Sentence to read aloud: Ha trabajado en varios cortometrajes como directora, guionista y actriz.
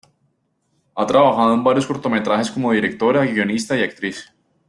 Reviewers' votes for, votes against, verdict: 2, 0, accepted